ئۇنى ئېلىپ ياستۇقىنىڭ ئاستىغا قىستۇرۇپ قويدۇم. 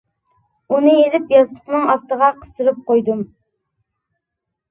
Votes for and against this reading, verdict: 2, 1, accepted